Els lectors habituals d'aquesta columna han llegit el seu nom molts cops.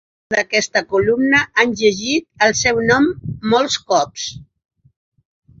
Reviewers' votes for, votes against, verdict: 2, 4, rejected